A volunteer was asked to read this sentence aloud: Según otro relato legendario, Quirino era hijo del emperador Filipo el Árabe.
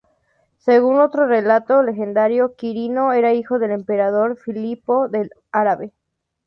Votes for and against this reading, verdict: 0, 2, rejected